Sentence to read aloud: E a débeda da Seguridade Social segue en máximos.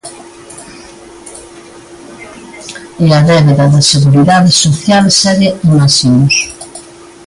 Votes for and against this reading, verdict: 1, 2, rejected